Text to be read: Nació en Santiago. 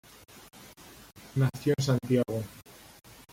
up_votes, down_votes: 0, 3